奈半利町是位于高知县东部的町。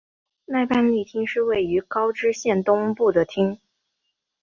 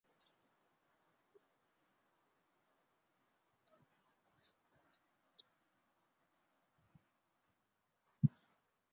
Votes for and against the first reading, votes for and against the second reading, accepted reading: 7, 0, 0, 3, first